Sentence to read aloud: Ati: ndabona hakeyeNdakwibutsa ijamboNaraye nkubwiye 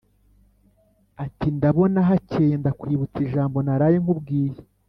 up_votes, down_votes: 3, 0